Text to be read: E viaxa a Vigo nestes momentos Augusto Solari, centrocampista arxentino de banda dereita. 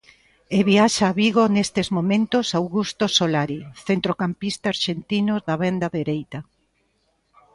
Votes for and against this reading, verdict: 0, 2, rejected